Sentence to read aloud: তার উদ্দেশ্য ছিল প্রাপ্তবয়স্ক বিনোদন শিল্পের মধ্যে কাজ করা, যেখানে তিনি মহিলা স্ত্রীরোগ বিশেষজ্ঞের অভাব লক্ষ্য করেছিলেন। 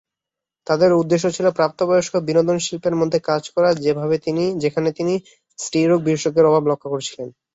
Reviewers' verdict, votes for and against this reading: rejected, 4, 4